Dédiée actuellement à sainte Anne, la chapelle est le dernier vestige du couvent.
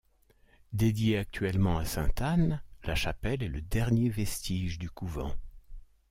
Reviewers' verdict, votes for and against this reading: accepted, 2, 0